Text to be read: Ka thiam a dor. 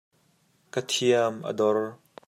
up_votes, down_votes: 2, 0